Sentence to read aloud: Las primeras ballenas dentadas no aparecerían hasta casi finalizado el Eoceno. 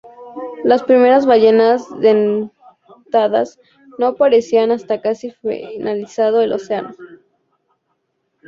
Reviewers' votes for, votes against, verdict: 0, 2, rejected